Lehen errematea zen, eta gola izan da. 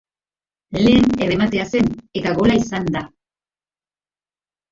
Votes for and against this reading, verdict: 0, 2, rejected